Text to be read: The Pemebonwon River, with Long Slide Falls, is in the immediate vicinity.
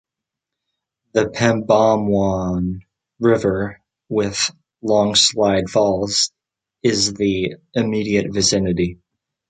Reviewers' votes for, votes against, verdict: 0, 2, rejected